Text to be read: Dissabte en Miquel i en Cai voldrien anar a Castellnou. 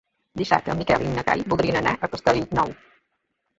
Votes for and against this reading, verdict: 0, 3, rejected